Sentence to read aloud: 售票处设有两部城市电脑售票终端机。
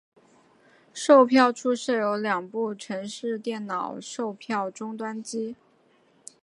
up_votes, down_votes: 4, 0